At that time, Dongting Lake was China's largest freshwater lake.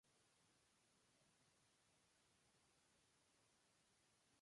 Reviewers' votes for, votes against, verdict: 0, 2, rejected